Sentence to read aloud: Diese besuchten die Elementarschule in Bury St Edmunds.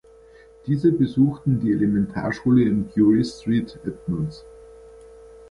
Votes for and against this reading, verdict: 1, 2, rejected